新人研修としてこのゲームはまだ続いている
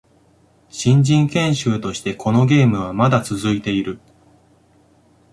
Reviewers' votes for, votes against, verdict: 2, 0, accepted